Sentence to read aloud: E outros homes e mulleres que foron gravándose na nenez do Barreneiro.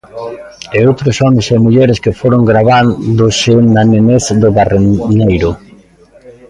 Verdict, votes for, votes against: rejected, 0, 2